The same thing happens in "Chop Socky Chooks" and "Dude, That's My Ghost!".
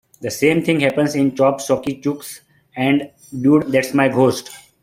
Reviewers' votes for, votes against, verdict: 1, 2, rejected